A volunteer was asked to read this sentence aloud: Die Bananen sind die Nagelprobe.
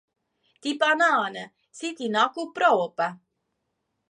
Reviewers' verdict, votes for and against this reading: rejected, 1, 2